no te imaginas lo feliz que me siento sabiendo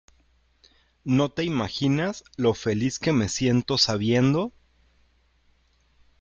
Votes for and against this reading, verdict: 2, 0, accepted